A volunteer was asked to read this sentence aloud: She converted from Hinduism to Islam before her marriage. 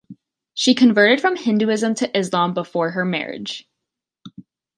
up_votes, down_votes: 2, 0